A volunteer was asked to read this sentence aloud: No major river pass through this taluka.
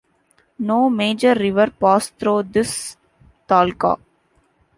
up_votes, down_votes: 0, 2